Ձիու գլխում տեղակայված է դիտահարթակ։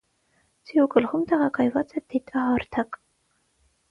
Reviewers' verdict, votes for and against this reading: rejected, 0, 3